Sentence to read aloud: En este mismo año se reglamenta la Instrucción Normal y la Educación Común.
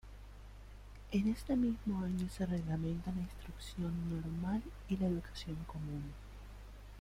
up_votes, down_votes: 2, 1